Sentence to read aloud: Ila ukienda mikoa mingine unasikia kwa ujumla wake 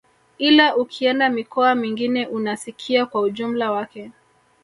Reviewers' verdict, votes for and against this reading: accepted, 2, 0